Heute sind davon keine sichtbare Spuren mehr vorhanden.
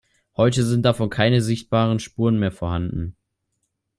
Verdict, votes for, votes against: rejected, 1, 2